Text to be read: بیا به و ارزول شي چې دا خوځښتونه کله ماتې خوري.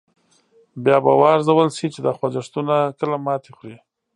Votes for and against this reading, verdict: 2, 0, accepted